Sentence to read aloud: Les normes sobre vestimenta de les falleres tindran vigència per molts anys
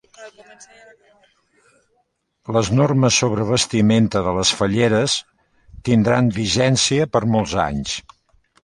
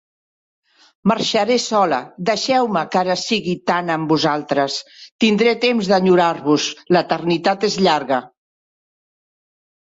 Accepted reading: first